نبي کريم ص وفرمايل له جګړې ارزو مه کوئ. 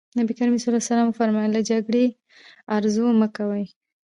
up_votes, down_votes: 1, 2